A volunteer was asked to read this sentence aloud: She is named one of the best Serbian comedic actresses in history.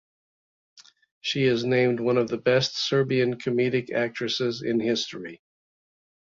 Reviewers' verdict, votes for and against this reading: accepted, 2, 0